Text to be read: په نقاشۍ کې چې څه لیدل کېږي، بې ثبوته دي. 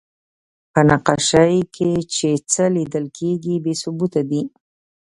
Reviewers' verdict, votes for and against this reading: rejected, 0, 2